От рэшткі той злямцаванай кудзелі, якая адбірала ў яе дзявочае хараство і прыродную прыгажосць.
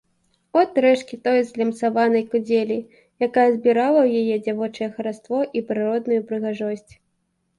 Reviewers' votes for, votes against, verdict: 2, 0, accepted